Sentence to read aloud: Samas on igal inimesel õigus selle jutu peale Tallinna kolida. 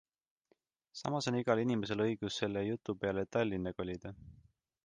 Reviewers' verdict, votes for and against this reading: accepted, 2, 0